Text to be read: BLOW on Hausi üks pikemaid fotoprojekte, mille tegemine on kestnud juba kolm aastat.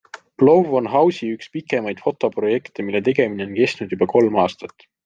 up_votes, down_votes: 2, 0